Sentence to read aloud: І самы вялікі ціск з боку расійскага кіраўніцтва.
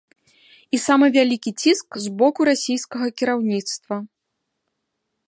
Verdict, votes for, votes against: accepted, 2, 0